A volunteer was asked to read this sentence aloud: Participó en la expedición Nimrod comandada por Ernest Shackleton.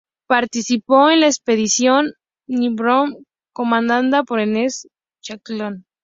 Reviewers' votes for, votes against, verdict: 0, 2, rejected